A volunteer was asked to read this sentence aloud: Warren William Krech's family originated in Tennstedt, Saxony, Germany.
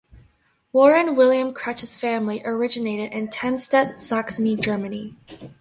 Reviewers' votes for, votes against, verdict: 0, 2, rejected